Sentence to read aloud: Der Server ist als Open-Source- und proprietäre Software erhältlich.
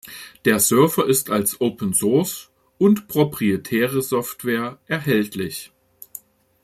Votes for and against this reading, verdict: 2, 1, accepted